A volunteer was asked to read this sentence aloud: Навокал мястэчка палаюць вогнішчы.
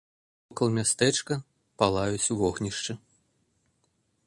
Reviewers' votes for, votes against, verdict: 0, 2, rejected